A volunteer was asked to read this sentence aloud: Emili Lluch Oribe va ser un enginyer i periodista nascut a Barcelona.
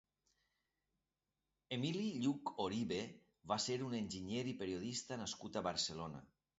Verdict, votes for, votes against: accepted, 2, 0